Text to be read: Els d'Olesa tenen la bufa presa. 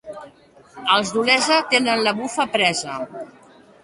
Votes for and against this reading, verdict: 2, 1, accepted